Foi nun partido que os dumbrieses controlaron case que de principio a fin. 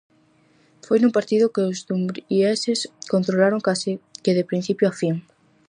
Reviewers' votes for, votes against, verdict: 0, 4, rejected